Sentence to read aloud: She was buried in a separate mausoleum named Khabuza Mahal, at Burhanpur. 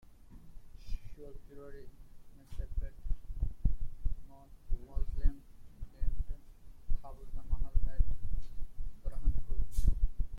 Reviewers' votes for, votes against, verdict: 0, 2, rejected